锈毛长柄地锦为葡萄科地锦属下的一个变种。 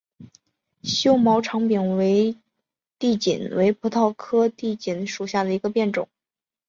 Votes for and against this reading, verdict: 4, 1, accepted